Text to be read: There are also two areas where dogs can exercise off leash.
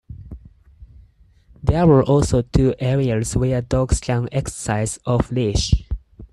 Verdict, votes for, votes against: accepted, 4, 0